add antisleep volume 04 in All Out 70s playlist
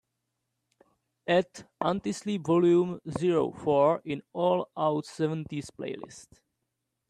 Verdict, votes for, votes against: rejected, 0, 2